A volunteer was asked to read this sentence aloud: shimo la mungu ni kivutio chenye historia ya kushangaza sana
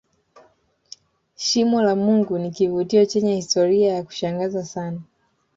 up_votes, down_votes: 2, 0